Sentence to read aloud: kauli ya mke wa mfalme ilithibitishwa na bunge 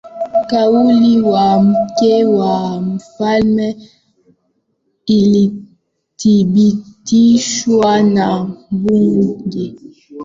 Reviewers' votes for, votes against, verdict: 0, 2, rejected